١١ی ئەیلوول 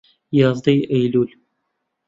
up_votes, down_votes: 0, 2